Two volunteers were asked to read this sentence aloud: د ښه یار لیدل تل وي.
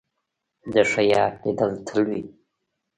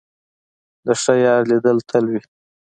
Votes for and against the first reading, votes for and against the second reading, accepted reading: 1, 2, 2, 0, second